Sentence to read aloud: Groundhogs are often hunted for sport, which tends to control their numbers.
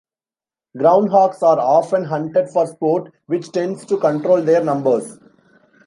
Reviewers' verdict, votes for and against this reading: rejected, 0, 2